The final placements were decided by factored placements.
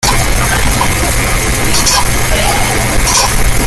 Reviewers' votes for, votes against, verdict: 0, 2, rejected